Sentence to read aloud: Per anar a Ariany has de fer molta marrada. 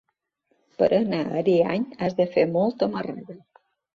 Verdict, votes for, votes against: rejected, 1, 2